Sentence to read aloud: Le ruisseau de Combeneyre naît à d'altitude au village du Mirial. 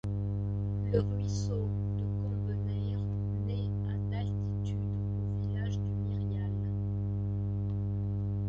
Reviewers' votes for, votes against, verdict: 1, 2, rejected